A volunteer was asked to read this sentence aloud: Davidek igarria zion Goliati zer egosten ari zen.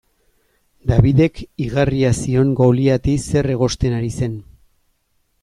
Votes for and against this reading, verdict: 2, 0, accepted